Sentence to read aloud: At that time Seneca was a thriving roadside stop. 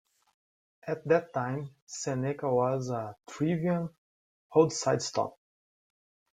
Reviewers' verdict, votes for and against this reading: accepted, 2, 0